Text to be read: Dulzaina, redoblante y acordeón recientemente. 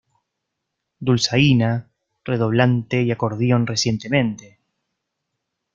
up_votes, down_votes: 1, 2